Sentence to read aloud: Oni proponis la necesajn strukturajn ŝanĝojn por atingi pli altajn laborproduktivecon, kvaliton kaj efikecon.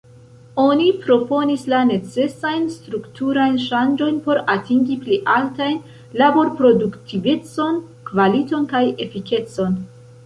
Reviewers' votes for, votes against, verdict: 2, 3, rejected